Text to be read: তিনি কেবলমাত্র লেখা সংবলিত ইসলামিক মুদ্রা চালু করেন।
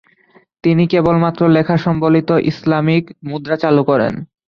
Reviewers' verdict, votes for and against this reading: accepted, 2, 0